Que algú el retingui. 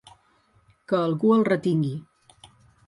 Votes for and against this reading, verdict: 4, 0, accepted